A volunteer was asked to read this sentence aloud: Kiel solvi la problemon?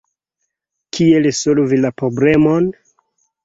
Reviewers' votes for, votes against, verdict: 2, 1, accepted